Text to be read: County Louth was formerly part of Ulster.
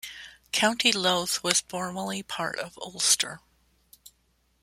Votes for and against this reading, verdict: 2, 0, accepted